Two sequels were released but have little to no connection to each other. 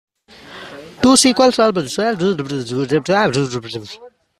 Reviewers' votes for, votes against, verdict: 0, 2, rejected